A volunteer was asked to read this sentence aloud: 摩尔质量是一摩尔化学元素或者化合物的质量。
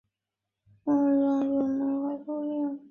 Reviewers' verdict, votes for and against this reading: rejected, 0, 3